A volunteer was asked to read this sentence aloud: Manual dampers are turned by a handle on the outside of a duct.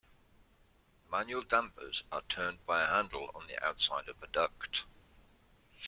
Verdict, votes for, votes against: accepted, 2, 0